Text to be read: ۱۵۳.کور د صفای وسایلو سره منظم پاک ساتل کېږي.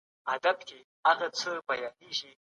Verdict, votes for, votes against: rejected, 0, 2